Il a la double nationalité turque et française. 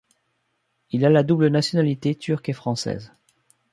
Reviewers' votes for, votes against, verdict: 2, 0, accepted